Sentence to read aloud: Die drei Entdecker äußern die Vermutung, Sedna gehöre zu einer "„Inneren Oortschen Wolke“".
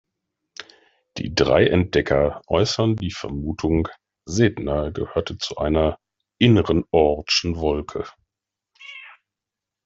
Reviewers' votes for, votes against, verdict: 1, 2, rejected